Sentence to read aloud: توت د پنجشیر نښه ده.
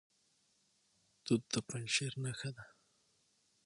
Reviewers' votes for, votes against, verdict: 6, 0, accepted